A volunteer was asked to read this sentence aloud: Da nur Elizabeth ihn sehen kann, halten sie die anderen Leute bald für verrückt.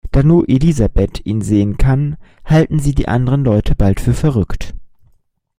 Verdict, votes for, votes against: accepted, 2, 0